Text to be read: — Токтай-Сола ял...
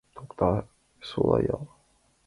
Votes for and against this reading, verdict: 2, 1, accepted